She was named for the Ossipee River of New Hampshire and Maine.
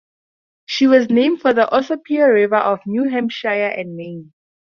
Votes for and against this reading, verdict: 4, 0, accepted